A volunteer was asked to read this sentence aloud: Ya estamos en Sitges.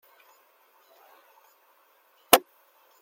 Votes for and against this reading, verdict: 0, 2, rejected